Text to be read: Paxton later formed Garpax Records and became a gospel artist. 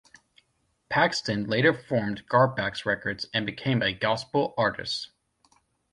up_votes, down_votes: 2, 0